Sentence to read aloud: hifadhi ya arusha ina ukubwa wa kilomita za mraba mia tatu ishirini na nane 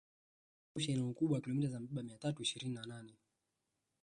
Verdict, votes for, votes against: rejected, 1, 2